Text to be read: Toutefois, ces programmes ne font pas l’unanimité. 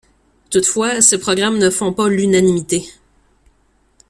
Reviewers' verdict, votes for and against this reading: rejected, 0, 2